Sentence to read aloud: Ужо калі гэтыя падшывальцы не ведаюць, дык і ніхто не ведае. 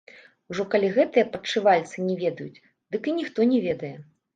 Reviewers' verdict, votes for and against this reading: rejected, 0, 2